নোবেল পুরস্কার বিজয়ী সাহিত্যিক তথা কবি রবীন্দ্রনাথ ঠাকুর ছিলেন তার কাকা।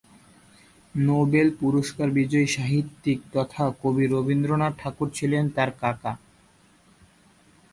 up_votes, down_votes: 2, 0